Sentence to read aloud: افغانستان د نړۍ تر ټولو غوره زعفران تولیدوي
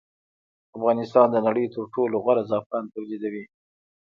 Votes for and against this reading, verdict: 2, 1, accepted